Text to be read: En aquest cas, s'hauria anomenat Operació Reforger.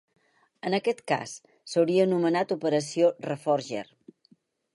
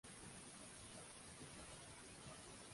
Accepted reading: first